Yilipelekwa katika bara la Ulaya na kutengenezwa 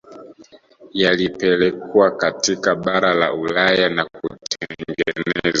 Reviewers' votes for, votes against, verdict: 0, 2, rejected